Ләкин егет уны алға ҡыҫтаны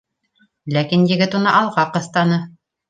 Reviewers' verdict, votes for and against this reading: rejected, 1, 2